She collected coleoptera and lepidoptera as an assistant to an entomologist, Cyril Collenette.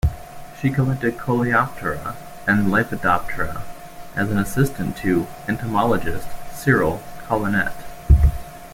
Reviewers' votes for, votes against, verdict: 0, 2, rejected